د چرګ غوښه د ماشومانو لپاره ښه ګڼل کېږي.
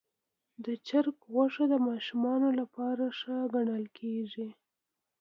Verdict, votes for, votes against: accepted, 2, 1